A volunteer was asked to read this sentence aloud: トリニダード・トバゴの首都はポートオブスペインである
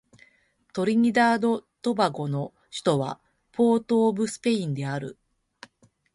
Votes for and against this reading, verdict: 2, 1, accepted